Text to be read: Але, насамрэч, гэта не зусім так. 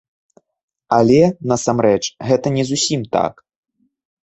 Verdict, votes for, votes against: accepted, 2, 0